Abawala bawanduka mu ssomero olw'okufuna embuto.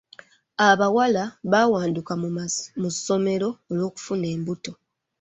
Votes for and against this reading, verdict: 2, 1, accepted